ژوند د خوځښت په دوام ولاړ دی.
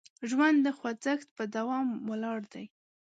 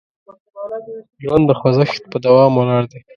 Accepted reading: first